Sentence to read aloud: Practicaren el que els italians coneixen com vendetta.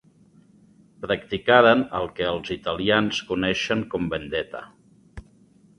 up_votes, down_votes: 2, 0